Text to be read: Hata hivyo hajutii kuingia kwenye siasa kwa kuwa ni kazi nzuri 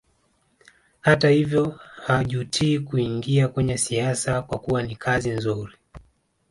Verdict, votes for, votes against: rejected, 1, 2